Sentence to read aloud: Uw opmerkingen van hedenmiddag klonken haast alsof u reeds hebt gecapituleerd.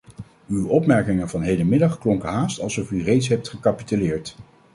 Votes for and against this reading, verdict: 2, 0, accepted